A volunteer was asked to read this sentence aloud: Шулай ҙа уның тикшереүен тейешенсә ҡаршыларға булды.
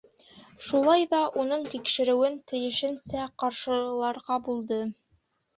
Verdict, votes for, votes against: rejected, 1, 2